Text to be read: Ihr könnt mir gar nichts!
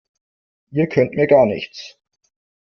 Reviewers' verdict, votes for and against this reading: accepted, 2, 0